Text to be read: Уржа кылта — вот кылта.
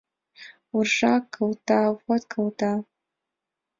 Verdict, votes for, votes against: accepted, 2, 0